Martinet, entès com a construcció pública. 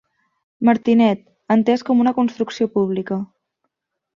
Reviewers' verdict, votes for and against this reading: rejected, 1, 2